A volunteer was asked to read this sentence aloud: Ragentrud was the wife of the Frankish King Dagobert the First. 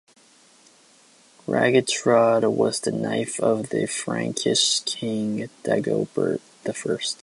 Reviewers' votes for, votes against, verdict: 0, 2, rejected